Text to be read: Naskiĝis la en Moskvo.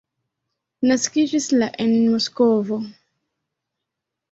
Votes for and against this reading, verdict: 1, 2, rejected